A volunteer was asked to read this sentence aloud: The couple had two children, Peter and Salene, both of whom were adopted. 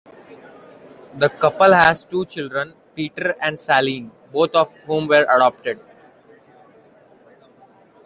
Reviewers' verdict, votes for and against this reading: accepted, 2, 1